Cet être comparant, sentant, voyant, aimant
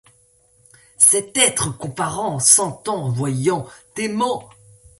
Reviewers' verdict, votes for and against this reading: accepted, 2, 0